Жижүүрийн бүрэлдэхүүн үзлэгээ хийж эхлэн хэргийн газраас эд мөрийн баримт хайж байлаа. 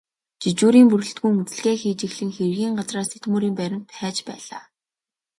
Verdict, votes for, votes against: accepted, 2, 0